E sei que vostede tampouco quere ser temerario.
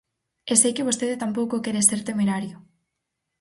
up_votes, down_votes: 4, 0